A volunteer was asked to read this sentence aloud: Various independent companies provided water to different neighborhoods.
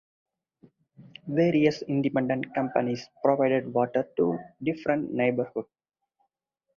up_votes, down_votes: 0, 4